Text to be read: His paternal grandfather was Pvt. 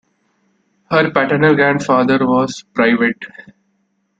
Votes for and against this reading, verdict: 1, 2, rejected